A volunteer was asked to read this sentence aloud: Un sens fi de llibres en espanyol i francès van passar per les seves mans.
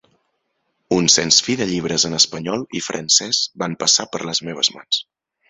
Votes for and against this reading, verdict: 1, 2, rejected